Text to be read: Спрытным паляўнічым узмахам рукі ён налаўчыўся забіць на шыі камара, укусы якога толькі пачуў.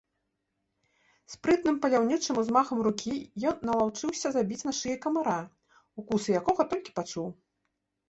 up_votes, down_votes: 2, 0